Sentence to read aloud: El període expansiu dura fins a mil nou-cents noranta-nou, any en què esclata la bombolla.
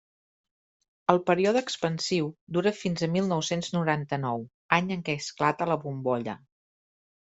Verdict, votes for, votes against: accepted, 3, 0